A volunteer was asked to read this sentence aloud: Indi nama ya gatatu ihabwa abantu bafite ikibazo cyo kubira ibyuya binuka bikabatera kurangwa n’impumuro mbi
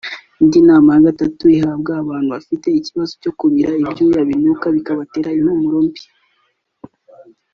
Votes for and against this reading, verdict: 0, 2, rejected